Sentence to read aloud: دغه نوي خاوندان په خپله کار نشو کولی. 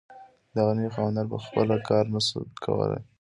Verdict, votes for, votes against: accepted, 2, 0